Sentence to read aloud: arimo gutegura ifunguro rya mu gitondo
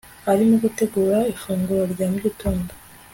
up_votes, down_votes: 2, 0